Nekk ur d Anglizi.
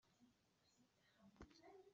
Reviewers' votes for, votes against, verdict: 1, 2, rejected